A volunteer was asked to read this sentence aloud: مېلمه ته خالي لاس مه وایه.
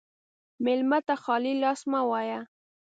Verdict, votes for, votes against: accepted, 2, 0